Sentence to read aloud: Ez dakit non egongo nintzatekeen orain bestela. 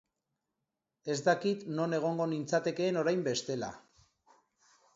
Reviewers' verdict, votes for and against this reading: accepted, 3, 0